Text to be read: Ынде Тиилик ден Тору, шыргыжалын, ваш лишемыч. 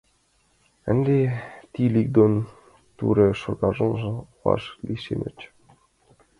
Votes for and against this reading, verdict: 1, 6, rejected